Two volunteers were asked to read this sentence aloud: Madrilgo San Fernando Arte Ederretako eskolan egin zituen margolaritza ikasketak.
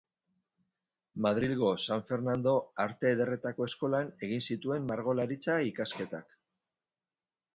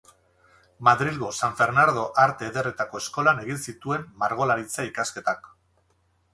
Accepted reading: first